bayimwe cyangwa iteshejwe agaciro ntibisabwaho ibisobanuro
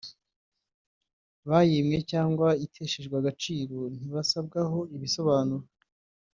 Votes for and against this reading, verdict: 1, 2, rejected